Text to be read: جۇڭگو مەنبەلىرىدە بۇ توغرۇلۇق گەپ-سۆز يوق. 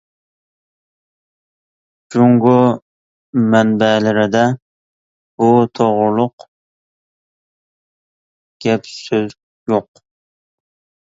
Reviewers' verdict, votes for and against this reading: accepted, 2, 0